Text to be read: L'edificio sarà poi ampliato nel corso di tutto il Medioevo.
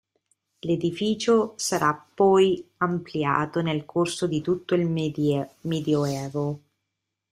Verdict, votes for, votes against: rejected, 0, 4